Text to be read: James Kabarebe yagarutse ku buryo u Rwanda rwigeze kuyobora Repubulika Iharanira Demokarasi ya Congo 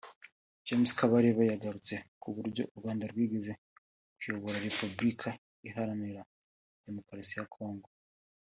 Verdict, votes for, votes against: accepted, 3, 0